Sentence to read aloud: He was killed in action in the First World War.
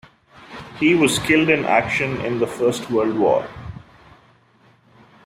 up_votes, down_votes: 2, 0